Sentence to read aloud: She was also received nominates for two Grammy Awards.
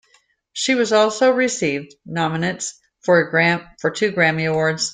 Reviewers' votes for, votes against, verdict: 0, 2, rejected